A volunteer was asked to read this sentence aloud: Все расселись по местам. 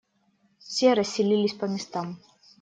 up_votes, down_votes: 0, 2